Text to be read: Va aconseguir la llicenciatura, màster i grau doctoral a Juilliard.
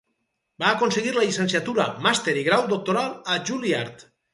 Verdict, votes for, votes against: rejected, 0, 2